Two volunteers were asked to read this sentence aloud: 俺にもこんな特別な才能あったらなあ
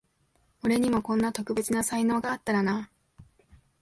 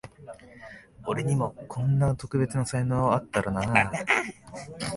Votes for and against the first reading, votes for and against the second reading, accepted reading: 0, 2, 2, 1, second